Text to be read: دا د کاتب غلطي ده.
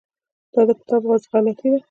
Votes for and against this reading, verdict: 0, 2, rejected